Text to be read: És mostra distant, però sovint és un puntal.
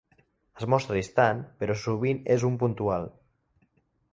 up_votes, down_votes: 2, 1